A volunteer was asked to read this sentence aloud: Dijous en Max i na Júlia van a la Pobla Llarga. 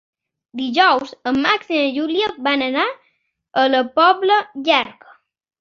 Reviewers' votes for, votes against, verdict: 1, 2, rejected